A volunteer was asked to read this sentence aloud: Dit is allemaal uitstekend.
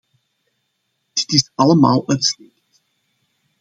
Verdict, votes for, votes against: rejected, 0, 2